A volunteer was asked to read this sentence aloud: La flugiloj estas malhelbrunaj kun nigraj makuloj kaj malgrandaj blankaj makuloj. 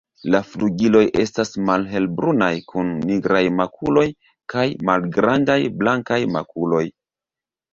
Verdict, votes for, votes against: rejected, 0, 2